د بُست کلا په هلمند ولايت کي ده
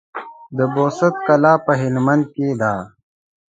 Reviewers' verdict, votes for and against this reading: rejected, 0, 2